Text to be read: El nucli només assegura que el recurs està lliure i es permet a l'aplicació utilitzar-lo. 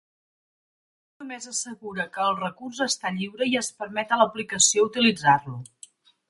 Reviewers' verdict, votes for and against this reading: rejected, 1, 2